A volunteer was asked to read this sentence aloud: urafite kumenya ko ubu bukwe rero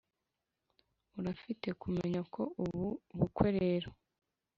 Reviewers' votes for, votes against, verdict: 2, 1, accepted